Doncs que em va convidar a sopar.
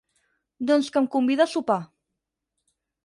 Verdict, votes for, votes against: rejected, 4, 8